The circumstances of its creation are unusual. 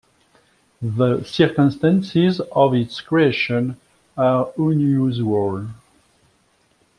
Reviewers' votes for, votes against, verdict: 2, 1, accepted